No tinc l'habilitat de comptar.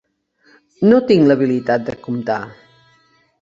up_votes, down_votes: 1, 2